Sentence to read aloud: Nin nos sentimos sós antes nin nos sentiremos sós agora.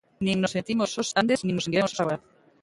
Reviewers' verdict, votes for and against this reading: rejected, 0, 2